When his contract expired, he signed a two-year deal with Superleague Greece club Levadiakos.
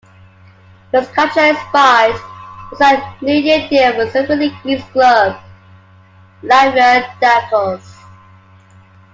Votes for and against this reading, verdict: 1, 2, rejected